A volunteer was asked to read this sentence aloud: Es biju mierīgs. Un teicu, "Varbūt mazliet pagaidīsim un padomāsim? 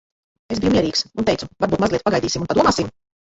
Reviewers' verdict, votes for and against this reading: rejected, 0, 3